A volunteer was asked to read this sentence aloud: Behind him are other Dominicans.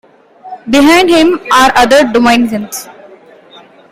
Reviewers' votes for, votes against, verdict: 2, 1, accepted